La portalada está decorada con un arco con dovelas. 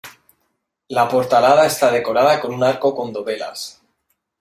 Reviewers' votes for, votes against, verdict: 2, 0, accepted